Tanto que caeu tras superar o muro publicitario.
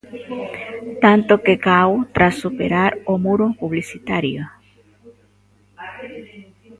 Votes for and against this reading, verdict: 0, 3, rejected